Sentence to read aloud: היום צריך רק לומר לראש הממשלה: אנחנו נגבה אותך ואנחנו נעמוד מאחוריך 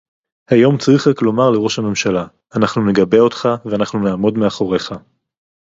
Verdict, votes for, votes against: accepted, 2, 0